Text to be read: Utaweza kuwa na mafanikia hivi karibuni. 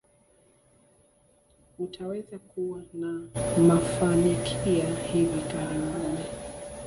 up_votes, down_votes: 1, 2